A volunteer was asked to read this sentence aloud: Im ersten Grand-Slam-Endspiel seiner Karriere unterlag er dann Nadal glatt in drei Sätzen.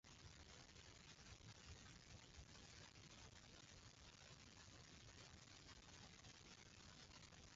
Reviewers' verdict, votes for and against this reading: rejected, 0, 2